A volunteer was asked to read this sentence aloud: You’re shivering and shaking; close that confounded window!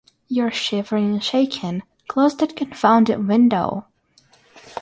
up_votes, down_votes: 6, 0